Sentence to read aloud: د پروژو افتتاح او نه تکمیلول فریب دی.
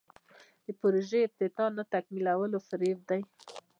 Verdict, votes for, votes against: rejected, 0, 2